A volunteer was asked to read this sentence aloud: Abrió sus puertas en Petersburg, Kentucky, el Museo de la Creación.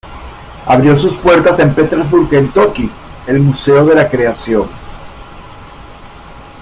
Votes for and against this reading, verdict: 2, 1, accepted